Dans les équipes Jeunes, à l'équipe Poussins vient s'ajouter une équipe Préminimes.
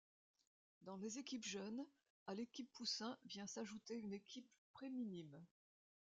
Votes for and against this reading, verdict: 2, 0, accepted